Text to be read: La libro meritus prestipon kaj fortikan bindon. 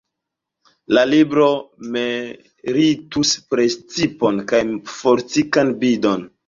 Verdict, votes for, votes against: accepted, 2, 1